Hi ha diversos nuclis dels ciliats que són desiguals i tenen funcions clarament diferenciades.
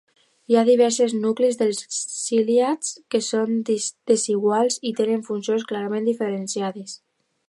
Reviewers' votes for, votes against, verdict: 2, 3, rejected